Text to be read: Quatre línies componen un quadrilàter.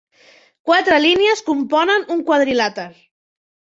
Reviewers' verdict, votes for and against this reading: accepted, 3, 0